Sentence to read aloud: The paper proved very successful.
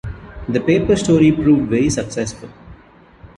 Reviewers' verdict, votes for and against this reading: rejected, 0, 2